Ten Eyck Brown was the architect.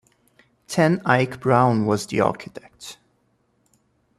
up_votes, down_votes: 2, 0